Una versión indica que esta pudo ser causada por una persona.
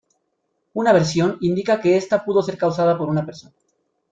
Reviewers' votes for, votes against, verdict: 2, 0, accepted